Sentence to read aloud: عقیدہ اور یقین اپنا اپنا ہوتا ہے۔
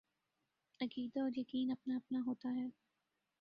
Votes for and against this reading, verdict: 2, 0, accepted